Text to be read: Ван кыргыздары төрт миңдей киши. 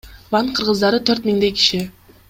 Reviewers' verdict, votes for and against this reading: accepted, 2, 0